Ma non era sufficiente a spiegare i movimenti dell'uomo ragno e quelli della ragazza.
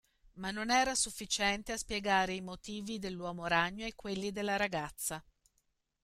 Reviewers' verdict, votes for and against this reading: rejected, 1, 2